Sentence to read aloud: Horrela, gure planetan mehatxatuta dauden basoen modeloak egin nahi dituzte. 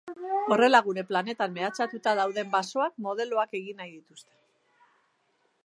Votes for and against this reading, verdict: 1, 3, rejected